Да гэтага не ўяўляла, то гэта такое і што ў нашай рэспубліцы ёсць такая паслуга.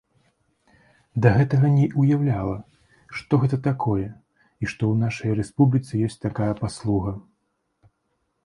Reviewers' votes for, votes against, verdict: 1, 2, rejected